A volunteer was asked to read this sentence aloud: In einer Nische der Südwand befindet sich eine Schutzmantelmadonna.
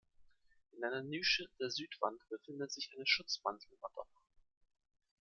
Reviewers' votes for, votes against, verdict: 0, 2, rejected